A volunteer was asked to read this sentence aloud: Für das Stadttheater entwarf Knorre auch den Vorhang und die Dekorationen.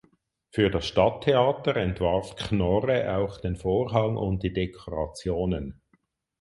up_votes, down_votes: 4, 0